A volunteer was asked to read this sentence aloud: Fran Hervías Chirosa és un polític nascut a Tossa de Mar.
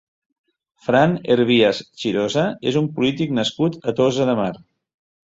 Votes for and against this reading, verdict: 2, 0, accepted